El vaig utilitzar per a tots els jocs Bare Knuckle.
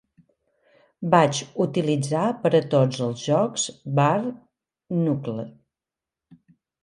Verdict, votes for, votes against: rejected, 0, 2